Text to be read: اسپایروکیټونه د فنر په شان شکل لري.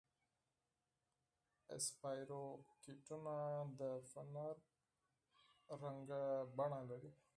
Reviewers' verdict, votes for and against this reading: rejected, 2, 4